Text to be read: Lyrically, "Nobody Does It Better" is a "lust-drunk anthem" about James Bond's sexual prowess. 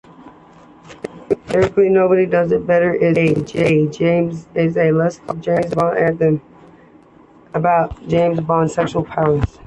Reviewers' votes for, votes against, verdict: 0, 2, rejected